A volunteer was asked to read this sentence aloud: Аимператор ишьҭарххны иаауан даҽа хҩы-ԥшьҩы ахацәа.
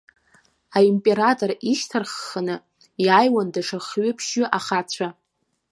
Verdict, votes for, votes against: rejected, 1, 2